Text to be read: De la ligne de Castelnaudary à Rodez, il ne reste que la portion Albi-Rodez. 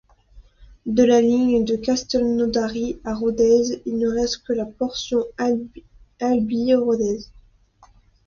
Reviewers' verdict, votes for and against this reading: rejected, 0, 2